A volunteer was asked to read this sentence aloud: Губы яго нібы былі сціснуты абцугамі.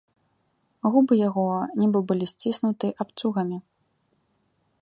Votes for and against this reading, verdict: 1, 2, rejected